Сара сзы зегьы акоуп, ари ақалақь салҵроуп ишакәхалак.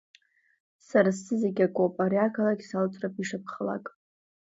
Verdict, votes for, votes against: accepted, 2, 1